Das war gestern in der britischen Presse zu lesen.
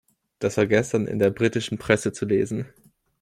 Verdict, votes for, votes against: accepted, 2, 0